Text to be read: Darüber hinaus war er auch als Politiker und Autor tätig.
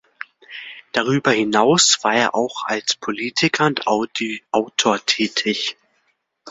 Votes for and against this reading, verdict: 0, 2, rejected